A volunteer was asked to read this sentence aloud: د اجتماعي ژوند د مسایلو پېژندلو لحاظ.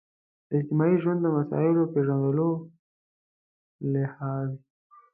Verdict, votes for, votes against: rejected, 1, 2